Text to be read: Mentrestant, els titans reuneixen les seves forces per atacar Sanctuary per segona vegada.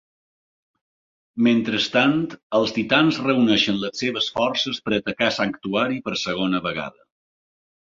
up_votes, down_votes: 2, 0